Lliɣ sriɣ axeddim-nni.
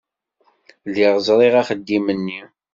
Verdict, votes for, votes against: rejected, 0, 2